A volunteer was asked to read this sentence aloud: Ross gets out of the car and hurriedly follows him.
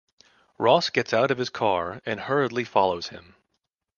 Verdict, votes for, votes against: rejected, 1, 2